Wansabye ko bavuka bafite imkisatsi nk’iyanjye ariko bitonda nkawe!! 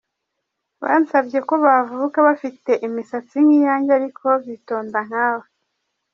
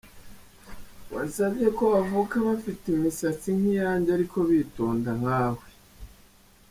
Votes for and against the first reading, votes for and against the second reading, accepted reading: 0, 2, 2, 1, second